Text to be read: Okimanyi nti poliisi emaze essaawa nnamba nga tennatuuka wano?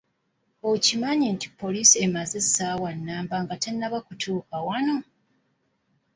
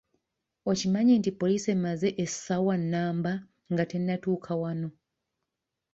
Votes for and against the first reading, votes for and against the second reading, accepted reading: 1, 2, 2, 1, second